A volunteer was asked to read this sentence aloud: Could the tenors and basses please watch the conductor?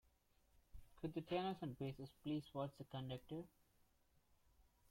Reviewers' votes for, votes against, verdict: 1, 2, rejected